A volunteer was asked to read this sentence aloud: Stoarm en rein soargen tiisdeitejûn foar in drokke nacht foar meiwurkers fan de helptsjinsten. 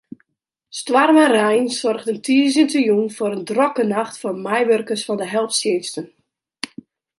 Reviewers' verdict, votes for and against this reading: accepted, 2, 1